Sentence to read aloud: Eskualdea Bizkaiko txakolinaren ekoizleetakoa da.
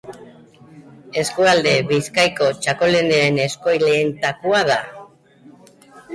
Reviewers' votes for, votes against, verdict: 1, 2, rejected